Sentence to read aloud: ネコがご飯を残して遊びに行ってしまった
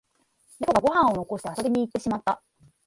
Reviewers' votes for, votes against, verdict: 0, 2, rejected